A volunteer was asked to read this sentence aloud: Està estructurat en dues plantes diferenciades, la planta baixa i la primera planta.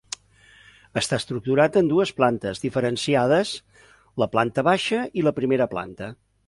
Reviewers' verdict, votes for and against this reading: accepted, 2, 0